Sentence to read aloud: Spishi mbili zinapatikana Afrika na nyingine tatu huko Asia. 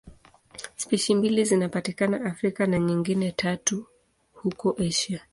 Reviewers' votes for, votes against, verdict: 1, 2, rejected